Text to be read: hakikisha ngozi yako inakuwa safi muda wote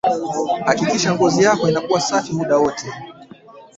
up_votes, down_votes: 1, 5